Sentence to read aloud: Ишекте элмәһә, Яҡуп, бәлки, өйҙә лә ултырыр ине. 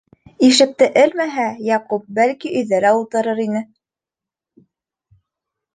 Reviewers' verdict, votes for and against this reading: accepted, 2, 0